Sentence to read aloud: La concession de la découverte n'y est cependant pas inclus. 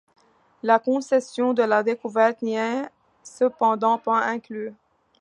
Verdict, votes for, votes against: accepted, 3, 1